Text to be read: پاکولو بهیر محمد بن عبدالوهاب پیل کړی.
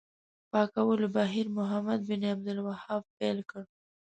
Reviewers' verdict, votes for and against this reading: rejected, 1, 2